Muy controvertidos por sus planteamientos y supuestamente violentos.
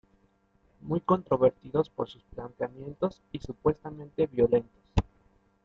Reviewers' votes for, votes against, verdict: 2, 0, accepted